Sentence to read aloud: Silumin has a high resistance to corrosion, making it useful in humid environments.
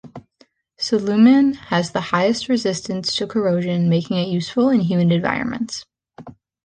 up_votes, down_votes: 1, 2